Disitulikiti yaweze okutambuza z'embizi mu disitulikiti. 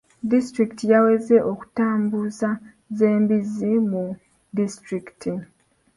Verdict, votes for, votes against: accepted, 2, 0